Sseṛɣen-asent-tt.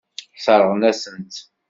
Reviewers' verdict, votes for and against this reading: accepted, 2, 0